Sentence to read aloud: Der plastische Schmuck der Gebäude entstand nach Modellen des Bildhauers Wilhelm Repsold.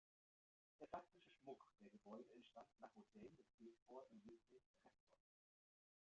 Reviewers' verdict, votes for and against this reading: rejected, 1, 2